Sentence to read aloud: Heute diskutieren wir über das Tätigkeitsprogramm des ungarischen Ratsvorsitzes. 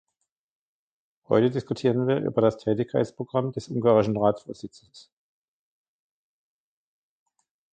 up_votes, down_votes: 2, 1